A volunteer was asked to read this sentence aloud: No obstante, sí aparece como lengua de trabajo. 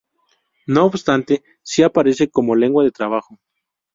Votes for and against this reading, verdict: 2, 0, accepted